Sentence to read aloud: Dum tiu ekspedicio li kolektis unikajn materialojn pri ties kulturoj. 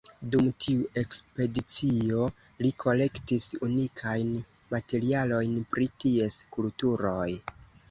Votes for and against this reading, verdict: 1, 2, rejected